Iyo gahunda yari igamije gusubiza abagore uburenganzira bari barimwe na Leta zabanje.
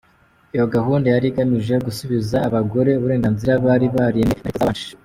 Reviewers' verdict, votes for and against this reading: rejected, 1, 2